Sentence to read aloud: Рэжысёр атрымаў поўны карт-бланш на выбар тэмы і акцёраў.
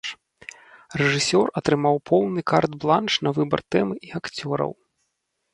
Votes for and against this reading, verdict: 2, 0, accepted